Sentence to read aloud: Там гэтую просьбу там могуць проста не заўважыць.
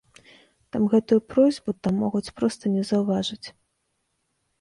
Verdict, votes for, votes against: rejected, 1, 2